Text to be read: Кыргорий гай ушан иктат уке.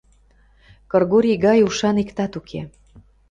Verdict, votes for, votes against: accepted, 2, 0